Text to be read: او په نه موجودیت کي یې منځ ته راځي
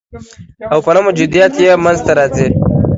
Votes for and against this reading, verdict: 2, 1, accepted